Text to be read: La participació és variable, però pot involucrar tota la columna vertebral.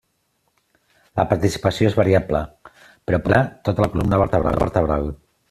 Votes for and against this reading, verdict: 0, 2, rejected